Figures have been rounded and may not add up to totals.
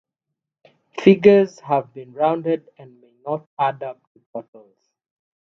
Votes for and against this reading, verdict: 0, 3, rejected